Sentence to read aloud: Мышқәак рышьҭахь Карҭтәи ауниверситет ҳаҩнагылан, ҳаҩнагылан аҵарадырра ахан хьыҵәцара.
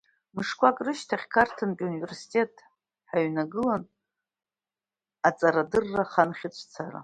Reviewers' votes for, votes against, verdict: 0, 2, rejected